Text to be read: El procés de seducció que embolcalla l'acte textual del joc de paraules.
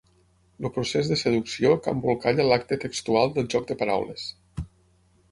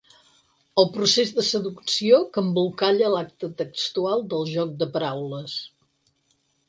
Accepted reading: second